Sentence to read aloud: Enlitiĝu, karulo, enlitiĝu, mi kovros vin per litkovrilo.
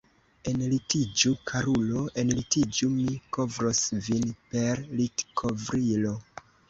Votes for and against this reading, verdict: 1, 2, rejected